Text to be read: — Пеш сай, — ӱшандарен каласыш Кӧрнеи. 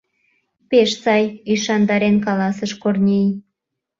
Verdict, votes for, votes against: rejected, 0, 2